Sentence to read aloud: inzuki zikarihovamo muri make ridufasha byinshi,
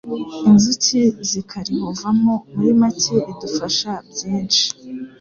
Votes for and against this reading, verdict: 3, 0, accepted